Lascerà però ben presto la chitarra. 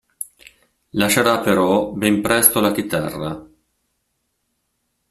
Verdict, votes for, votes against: accepted, 2, 0